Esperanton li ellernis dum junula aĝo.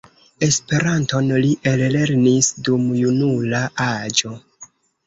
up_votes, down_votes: 1, 2